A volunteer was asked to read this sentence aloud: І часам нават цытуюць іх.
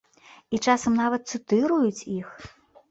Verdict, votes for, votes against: rejected, 0, 3